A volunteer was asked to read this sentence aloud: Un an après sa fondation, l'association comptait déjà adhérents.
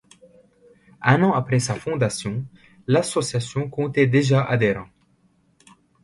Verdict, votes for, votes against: accepted, 2, 0